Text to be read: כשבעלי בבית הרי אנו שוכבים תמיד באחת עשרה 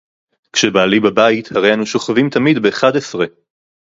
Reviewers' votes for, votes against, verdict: 2, 2, rejected